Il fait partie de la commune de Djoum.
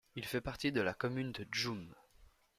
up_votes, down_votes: 2, 0